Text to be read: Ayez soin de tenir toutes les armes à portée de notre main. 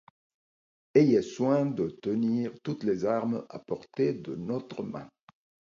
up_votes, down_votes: 2, 0